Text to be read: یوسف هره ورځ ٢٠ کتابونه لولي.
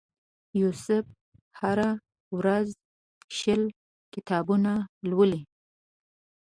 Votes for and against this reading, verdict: 0, 2, rejected